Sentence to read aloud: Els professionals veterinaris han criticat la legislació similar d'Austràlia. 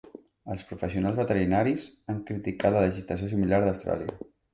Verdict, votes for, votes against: rejected, 2, 3